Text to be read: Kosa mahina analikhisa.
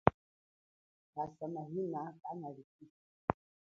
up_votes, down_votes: 1, 2